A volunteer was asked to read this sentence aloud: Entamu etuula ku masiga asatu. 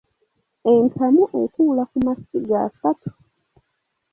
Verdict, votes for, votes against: accepted, 2, 0